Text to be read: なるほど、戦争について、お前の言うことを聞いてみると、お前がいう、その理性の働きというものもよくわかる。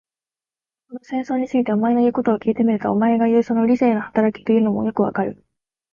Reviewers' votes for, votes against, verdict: 1, 2, rejected